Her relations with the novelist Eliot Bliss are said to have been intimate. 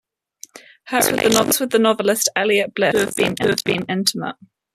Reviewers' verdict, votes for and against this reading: rejected, 0, 3